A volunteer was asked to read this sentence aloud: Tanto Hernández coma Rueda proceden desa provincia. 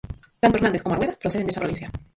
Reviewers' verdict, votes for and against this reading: rejected, 0, 4